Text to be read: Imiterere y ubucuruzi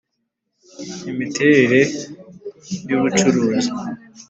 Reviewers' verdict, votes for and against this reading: accepted, 2, 0